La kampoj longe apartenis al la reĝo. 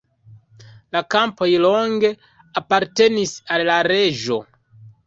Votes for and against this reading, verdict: 1, 2, rejected